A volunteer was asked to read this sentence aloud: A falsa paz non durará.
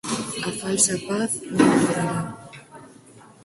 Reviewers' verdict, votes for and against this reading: rejected, 0, 4